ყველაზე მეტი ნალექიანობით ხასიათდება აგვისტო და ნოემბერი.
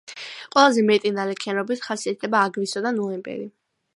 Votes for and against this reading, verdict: 2, 0, accepted